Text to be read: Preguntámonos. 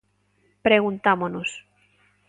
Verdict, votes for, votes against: accepted, 2, 0